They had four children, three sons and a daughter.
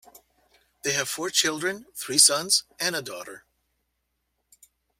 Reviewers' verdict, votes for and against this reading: rejected, 0, 2